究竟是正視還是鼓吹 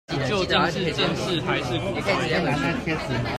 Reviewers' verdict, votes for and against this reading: rejected, 0, 2